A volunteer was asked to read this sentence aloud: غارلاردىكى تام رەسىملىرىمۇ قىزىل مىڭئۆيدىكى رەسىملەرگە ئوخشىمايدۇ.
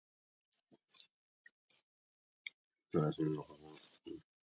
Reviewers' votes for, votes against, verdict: 0, 2, rejected